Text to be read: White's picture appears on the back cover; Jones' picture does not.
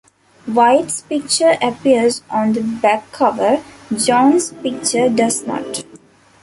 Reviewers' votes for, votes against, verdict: 2, 0, accepted